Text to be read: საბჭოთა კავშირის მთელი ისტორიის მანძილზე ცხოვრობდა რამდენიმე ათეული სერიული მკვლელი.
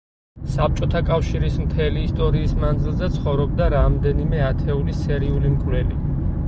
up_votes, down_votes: 4, 0